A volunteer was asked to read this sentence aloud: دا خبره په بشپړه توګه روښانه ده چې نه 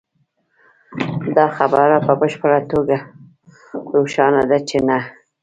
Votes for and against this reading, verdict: 2, 0, accepted